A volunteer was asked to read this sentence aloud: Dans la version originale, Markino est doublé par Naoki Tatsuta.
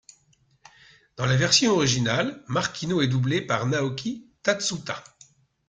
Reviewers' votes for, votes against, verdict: 2, 0, accepted